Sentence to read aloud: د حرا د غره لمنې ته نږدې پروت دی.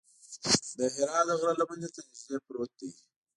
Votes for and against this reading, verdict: 2, 0, accepted